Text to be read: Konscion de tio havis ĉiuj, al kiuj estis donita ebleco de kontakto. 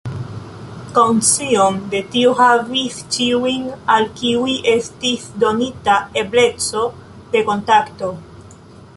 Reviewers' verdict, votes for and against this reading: rejected, 0, 2